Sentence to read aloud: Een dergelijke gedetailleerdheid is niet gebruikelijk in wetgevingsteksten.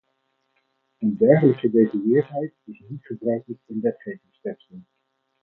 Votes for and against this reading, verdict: 4, 0, accepted